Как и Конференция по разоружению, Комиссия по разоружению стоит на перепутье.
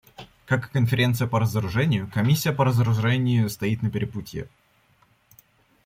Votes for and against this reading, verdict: 1, 2, rejected